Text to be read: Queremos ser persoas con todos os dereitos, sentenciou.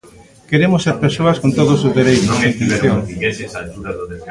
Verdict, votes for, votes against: rejected, 0, 2